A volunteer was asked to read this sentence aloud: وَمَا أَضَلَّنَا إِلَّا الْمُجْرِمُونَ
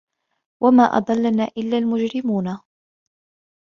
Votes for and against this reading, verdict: 1, 2, rejected